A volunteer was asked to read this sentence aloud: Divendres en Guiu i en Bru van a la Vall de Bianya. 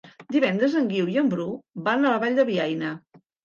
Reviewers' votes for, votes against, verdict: 0, 2, rejected